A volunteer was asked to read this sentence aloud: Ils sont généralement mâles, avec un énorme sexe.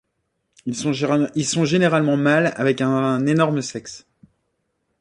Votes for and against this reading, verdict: 0, 2, rejected